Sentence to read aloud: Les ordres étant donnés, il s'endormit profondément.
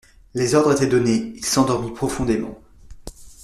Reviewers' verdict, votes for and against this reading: rejected, 1, 2